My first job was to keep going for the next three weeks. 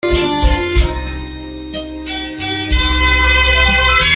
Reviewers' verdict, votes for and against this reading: rejected, 0, 2